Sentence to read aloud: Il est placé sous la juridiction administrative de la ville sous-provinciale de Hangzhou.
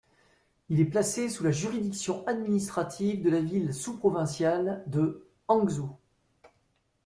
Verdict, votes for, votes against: accepted, 2, 0